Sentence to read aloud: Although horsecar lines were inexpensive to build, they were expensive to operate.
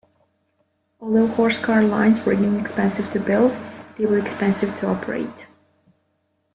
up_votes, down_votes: 1, 2